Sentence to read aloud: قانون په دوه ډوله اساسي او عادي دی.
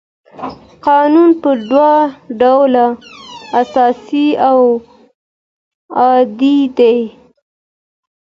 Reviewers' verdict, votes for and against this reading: rejected, 0, 2